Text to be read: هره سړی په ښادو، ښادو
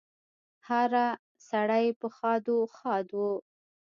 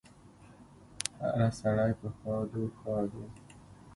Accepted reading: second